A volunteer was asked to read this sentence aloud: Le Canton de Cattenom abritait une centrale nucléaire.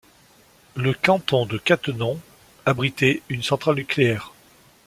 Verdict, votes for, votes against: accepted, 2, 0